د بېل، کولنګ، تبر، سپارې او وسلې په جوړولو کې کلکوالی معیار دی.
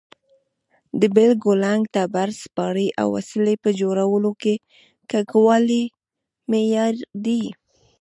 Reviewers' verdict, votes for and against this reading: rejected, 1, 2